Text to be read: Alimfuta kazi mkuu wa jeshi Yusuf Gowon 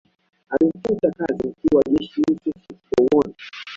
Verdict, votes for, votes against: rejected, 0, 2